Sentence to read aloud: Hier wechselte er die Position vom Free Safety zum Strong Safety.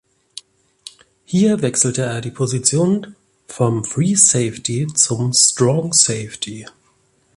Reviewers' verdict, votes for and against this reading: accepted, 2, 0